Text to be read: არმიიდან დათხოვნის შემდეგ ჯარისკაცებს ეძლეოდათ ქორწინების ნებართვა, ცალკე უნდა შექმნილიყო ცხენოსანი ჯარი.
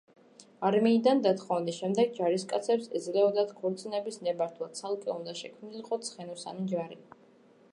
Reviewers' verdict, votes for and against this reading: accepted, 2, 0